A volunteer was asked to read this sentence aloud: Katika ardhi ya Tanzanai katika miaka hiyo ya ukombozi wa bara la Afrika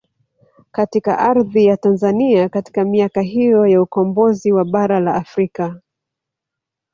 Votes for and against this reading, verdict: 2, 0, accepted